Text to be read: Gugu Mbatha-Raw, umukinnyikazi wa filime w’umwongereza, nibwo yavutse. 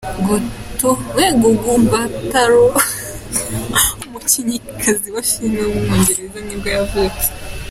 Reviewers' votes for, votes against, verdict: 0, 2, rejected